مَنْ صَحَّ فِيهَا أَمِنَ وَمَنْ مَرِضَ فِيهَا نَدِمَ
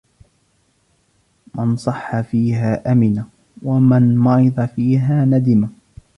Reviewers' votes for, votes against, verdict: 1, 2, rejected